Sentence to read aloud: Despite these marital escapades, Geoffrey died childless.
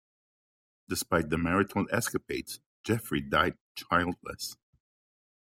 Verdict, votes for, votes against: rejected, 0, 2